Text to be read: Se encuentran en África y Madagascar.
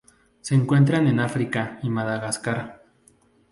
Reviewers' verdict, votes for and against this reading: accepted, 4, 0